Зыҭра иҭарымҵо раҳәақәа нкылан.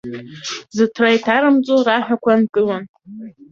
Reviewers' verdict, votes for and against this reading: rejected, 3, 4